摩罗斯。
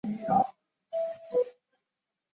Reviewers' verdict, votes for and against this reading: rejected, 0, 2